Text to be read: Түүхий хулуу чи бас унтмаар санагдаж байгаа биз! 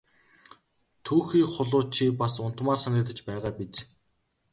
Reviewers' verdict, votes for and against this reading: accepted, 2, 0